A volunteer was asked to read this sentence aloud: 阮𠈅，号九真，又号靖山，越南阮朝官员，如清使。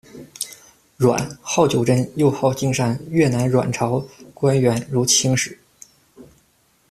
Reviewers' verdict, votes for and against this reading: accepted, 2, 0